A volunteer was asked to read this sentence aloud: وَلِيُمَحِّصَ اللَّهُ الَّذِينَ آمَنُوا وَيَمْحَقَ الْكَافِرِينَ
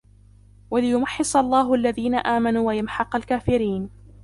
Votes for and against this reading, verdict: 2, 1, accepted